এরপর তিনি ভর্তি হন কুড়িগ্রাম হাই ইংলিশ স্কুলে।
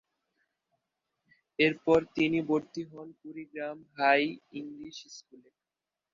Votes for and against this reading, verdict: 3, 5, rejected